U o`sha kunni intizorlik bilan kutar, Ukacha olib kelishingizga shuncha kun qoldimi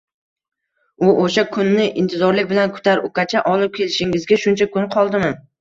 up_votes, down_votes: 2, 1